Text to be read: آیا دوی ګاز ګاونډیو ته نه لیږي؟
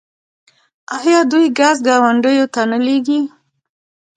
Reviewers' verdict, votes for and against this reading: rejected, 0, 2